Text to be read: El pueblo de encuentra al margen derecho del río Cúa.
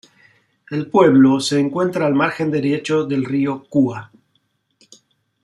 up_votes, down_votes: 1, 2